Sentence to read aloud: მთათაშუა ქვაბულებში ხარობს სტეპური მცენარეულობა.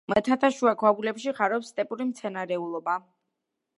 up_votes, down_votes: 2, 0